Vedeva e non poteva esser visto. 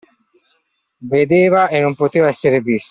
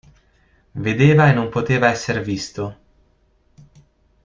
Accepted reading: second